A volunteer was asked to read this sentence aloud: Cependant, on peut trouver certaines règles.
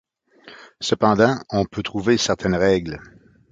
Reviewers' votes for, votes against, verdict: 2, 0, accepted